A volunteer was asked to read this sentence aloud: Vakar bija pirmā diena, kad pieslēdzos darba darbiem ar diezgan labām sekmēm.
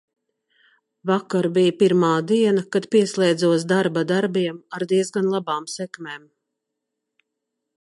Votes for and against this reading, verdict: 2, 0, accepted